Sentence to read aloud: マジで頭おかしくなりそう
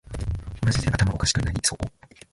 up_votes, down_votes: 1, 2